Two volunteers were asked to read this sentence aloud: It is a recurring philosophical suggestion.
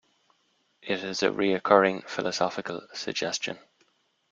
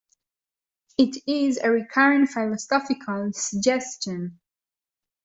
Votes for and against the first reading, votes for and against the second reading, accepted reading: 2, 0, 1, 2, first